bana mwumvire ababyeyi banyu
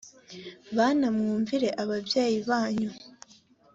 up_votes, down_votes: 2, 0